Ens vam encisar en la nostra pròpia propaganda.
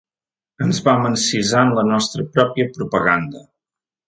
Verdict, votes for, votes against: accepted, 3, 0